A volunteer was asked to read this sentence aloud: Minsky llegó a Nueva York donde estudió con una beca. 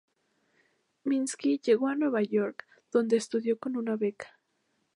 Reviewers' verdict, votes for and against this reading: accepted, 2, 0